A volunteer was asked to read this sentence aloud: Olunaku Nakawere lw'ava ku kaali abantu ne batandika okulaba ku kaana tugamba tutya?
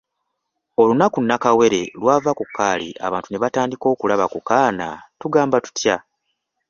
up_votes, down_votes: 0, 2